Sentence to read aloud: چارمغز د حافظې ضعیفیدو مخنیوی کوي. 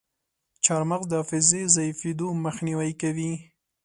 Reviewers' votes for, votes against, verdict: 2, 0, accepted